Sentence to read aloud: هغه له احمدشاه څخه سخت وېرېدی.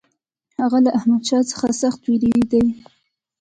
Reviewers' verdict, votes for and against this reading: accepted, 3, 0